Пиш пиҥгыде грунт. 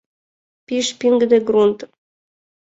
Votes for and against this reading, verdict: 2, 0, accepted